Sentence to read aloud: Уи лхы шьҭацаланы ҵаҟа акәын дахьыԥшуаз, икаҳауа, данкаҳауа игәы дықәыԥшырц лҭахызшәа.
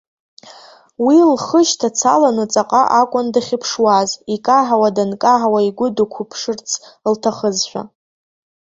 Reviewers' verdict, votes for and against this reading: accepted, 2, 0